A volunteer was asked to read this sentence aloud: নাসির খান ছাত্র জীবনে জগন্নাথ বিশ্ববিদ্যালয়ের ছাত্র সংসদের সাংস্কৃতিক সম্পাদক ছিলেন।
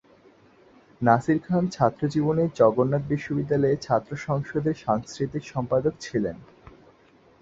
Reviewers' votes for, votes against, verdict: 2, 0, accepted